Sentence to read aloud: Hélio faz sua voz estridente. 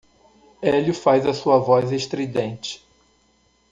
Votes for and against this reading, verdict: 0, 2, rejected